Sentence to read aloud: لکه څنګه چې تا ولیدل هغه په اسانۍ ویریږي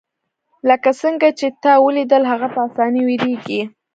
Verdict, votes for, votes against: accepted, 2, 0